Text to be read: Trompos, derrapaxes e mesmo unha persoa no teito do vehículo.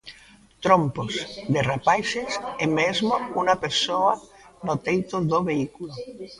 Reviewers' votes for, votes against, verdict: 0, 2, rejected